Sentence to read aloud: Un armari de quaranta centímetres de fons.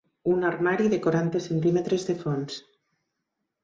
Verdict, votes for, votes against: accepted, 4, 0